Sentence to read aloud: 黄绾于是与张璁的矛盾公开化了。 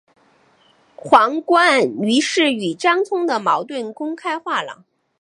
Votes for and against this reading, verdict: 2, 0, accepted